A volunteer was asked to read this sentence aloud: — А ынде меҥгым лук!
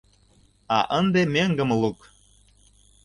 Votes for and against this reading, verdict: 2, 0, accepted